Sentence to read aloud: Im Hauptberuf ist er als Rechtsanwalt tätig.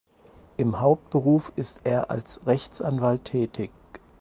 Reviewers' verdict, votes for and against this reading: accepted, 4, 0